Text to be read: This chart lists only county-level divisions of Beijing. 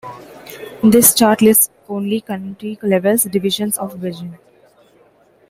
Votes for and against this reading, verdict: 2, 0, accepted